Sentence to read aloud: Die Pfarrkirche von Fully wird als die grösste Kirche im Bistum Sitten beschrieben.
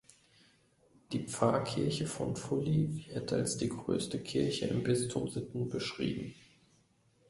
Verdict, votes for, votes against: accepted, 2, 0